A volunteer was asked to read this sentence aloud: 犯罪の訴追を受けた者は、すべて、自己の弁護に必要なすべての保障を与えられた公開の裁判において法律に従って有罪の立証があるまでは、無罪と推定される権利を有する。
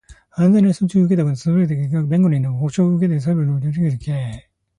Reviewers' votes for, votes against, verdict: 0, 2, rejected